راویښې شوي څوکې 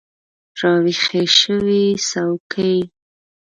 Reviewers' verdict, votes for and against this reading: rejected, 0, 2